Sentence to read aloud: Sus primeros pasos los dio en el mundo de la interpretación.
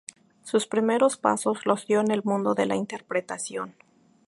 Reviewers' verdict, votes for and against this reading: rejected, 2, 2